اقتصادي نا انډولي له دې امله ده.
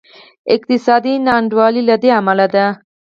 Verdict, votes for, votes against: rejected, 0, 4